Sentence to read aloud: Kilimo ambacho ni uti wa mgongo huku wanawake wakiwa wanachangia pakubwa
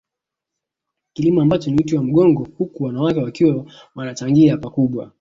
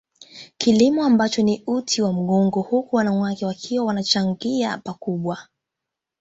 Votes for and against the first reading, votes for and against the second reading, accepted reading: 1, 2, 2, 0, second